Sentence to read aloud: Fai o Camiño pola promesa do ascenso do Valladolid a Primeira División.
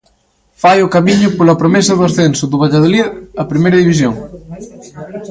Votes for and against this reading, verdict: 2, 0, accepted